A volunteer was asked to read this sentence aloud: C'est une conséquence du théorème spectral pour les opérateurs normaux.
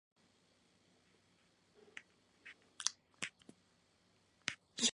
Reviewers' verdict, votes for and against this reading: rejected, 0, 2